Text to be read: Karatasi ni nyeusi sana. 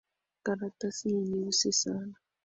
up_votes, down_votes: 11, 1